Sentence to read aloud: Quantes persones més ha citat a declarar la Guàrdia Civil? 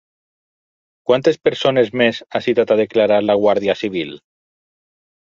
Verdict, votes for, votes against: accepted, 6, 0